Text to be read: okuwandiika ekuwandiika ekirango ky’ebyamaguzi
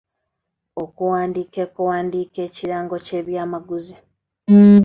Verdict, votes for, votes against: accepted, 2, 1